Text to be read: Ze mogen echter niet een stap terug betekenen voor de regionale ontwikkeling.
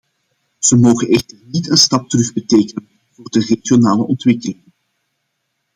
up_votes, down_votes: 1, 2